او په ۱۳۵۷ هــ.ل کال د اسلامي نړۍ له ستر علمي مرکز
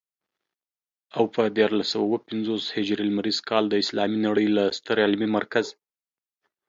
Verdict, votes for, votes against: rejected, 0, 2